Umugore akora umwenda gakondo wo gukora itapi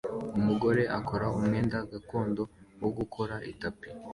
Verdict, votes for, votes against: accepted, 2, 0